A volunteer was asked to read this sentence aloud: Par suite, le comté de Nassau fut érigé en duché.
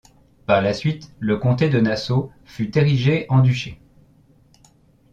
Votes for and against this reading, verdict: 0, 2, rejected